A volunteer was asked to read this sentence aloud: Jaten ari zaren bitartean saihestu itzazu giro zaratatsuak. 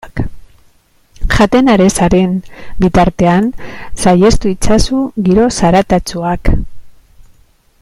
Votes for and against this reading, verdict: 2, 0, accepted